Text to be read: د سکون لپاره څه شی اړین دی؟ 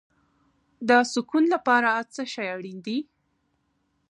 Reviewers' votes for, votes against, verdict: 1, 2, rejected